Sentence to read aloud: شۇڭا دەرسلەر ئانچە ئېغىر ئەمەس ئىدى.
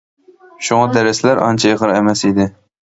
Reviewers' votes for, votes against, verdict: 3, 0, accepted